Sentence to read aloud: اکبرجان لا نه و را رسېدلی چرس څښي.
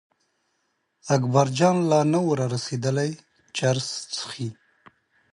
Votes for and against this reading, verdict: 2, 0, accepted